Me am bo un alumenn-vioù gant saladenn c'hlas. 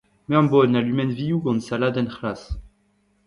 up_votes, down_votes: 1, 2